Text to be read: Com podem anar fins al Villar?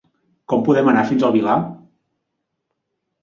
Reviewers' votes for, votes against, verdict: 1, 2, rejected